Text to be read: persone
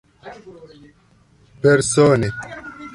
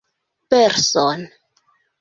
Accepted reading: first